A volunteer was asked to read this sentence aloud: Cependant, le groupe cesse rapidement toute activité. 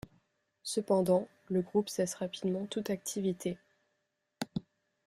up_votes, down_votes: 2, 0